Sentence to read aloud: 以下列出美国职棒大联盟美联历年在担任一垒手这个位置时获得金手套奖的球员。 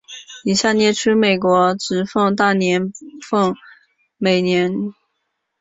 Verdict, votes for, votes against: rejected, 0, 2